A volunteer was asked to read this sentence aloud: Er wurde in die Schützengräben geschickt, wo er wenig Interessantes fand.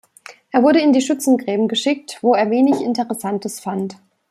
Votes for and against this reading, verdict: 2, 0, accepted